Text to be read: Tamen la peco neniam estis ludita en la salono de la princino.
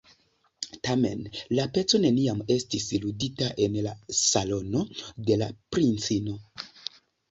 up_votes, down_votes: 2, 0